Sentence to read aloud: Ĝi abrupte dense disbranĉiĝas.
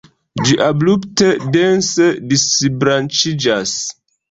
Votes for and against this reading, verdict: 2, 1, accepted